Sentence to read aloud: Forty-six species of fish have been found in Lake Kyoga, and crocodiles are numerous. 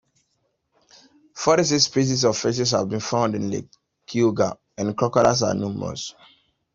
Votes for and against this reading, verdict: 0, 2, rejected